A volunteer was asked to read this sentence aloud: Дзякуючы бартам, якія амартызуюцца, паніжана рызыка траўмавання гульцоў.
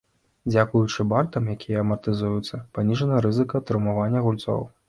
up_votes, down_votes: 0, 2